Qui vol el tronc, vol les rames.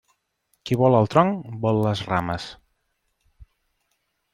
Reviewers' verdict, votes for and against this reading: accepted, 3, 0